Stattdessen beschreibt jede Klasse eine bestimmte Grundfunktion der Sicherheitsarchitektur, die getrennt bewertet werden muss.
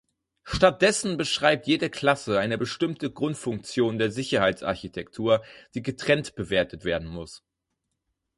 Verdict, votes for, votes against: accepted, 4, 0